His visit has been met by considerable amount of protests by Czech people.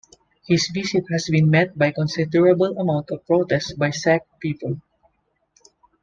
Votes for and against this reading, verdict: 0, 2, rejected